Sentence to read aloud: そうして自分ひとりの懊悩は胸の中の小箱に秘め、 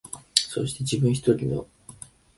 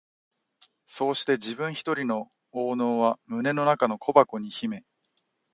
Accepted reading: second